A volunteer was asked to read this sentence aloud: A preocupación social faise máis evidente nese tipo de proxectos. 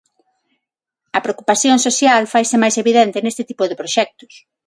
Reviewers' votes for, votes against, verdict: 3, 3, rejected